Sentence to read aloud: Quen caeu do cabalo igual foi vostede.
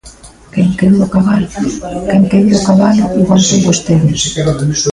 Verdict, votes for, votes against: rejected, 0, 2